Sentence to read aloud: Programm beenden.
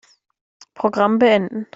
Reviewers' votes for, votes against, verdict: 2, 0, accepted